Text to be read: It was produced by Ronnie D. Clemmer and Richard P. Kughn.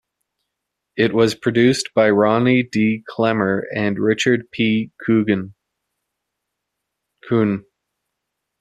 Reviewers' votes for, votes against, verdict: 0, 2, rejected